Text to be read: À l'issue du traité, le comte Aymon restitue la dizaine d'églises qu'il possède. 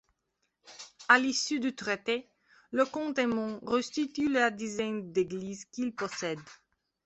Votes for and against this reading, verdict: 2, 1, accepted